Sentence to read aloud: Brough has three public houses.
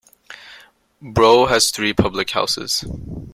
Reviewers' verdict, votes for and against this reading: accepted, 2, 0